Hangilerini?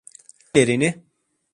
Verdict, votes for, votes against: rejected, 0, 2